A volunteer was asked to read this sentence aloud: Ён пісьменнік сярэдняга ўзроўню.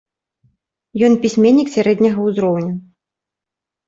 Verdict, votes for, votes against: accepted, 3, 0